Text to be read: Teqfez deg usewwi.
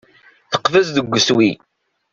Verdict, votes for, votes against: rejected, 1, 2